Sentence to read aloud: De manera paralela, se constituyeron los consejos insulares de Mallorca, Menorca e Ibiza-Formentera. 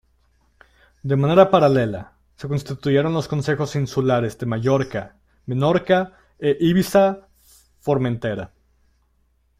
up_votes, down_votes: 2, 0